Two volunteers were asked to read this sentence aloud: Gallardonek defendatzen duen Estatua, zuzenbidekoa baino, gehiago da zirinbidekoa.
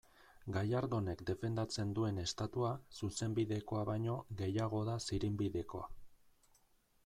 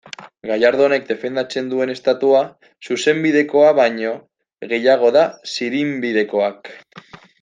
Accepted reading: first